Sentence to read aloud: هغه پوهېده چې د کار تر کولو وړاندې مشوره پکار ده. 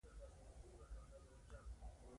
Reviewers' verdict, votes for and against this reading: accepted, 2, 0